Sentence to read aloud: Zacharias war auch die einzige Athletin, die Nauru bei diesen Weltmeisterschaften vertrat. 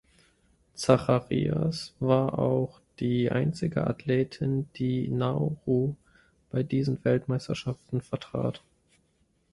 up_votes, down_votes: 1, 2